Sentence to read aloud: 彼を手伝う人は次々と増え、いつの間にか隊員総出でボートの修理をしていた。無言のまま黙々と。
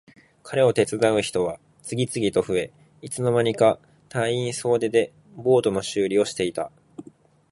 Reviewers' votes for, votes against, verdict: 1, 2, rejected